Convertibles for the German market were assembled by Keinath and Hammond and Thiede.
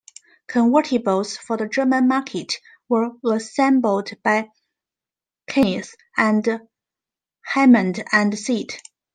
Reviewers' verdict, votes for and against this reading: rejected, 0, 2